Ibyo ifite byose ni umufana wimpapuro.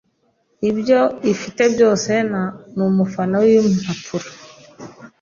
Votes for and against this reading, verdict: 1, 2, rejected